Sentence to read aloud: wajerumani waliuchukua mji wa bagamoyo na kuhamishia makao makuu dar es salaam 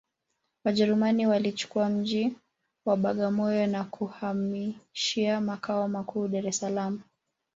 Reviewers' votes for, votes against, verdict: 0, 2, rejected